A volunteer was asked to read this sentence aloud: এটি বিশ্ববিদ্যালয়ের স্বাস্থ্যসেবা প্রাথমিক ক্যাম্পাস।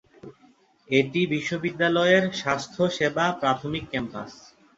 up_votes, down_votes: 2, 0